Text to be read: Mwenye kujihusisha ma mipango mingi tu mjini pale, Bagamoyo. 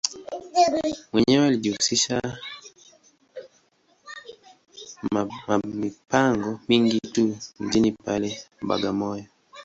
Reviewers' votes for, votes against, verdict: 0, 2, rejected